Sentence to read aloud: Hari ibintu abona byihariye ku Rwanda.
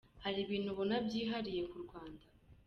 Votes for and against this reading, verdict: 2, 0, accepted